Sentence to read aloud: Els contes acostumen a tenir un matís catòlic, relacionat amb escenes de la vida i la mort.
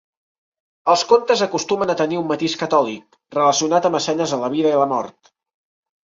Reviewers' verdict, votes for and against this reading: rejected, 0, 2